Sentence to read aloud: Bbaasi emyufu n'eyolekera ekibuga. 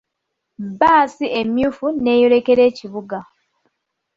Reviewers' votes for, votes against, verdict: 2, 0, accepted